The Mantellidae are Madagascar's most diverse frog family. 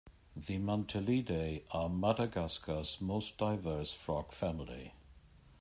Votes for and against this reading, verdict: 1, 2, rejected